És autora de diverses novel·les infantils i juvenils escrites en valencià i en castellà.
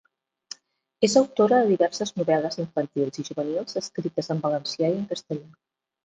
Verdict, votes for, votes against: rejected, 0, 2